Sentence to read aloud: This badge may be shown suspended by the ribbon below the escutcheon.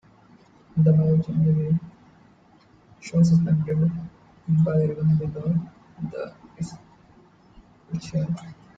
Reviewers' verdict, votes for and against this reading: rejected, 0, 2